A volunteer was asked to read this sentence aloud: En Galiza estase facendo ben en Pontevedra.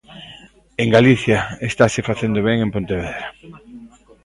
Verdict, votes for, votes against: rejected, 0, 2